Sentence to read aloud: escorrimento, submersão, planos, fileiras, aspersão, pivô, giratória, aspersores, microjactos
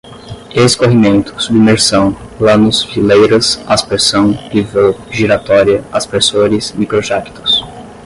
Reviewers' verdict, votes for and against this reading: rejected, 5, 5